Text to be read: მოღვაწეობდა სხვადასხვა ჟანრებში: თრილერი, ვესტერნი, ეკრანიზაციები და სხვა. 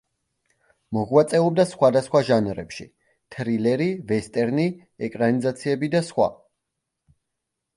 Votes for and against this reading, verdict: 2, 0, accepted